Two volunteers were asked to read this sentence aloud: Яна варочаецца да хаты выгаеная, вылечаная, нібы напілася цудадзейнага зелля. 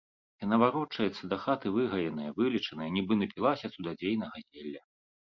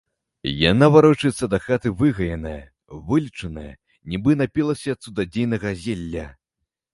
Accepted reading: first